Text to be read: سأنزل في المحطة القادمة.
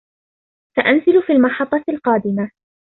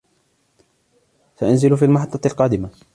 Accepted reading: first